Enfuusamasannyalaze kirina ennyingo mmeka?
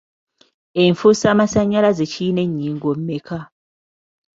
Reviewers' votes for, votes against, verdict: 2, 0, accepted